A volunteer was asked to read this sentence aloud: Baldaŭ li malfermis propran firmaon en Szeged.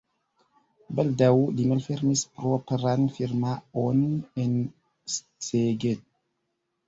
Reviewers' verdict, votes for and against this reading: accepted, 2, 0